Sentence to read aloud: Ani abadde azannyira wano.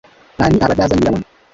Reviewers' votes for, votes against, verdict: 0, 2, rejected